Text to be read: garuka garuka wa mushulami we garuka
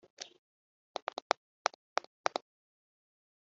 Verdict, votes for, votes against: rejected, 0, 2